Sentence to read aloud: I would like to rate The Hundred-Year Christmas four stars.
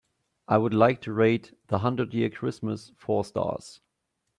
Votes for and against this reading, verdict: 2, 0, accepted